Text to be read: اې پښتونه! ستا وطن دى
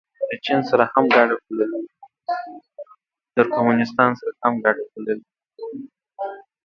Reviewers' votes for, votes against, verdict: 1, 2, rejected